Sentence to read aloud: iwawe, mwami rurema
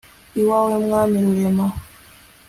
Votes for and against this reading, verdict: 2, 0, accepted